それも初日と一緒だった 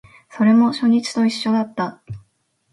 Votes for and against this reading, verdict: 2, 0, accepted